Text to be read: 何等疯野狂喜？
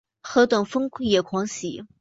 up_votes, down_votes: 4, 0